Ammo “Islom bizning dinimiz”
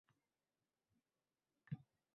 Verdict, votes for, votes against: rejected, 0, 2